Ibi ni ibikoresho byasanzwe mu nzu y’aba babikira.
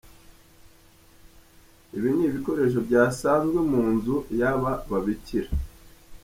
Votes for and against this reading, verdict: 2, 0, accepted